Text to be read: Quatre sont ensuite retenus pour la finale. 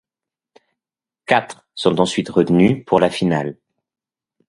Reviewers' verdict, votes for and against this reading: accepted, 2, 0